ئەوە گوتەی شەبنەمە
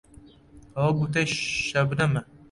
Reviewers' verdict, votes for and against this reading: rejected, 1, 2